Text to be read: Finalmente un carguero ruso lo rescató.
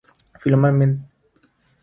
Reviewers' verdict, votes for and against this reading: rejected, 0, 3